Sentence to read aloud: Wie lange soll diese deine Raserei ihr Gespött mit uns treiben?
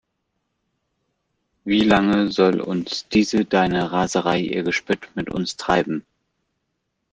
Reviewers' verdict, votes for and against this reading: rejected, 0, 2